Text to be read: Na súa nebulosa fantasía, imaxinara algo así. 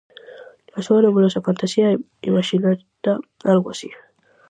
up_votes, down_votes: 0, 4